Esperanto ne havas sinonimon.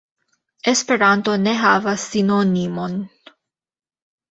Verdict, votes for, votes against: rejected, 1, 2